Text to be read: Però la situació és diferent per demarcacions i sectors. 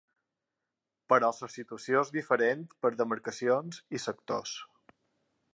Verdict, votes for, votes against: accepted, 3, 1